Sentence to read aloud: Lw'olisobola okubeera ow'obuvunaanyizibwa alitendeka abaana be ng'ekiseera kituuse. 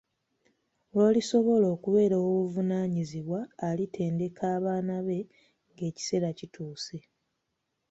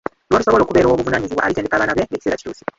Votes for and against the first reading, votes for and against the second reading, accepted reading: 2, 0, 0, 2, first